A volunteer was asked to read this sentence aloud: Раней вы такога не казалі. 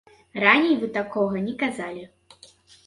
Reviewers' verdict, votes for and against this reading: rejected, 1, 2